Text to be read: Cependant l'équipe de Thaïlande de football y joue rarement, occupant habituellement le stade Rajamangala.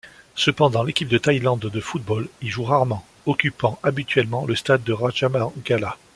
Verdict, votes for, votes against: accepted, 2, 1